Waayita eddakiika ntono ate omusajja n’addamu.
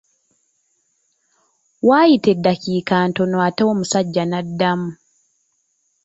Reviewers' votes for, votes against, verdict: 2, 0, accepted